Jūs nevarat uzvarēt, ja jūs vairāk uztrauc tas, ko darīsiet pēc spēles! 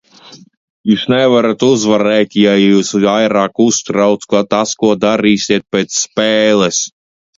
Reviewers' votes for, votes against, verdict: 0, 2, rejected